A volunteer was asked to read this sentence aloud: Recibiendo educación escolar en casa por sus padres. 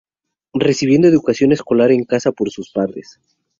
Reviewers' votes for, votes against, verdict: 2, 0, accepted